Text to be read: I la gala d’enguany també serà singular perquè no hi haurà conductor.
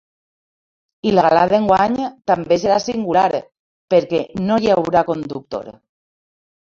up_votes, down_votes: 2, 1